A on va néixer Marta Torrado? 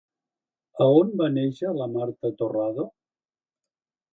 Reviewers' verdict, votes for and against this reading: rejected, 1, 2